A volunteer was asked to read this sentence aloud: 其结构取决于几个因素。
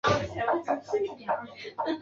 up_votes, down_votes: 0, 3